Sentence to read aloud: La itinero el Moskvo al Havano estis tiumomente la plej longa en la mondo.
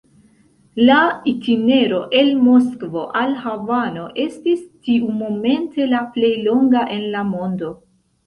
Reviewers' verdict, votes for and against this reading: accepted, 2, 0